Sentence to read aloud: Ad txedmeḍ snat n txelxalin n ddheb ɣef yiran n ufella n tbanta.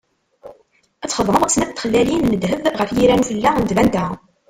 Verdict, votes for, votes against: rejected, 0, 2